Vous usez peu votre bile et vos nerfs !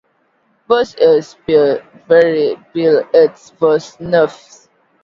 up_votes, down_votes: 0, 2